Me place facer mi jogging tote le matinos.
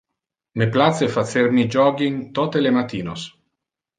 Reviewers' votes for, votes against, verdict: 1, 2, rejected